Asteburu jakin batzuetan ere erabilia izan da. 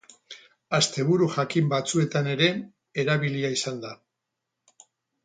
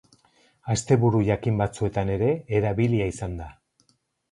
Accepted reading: second